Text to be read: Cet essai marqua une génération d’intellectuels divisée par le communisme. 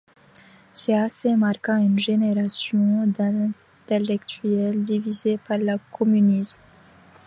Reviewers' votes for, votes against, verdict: 2, 1, accepted